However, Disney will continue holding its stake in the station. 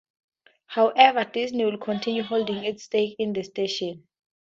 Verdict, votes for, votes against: rejected, 0, 2